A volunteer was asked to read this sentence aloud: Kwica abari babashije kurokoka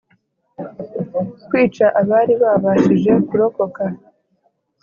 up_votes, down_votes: 2, 1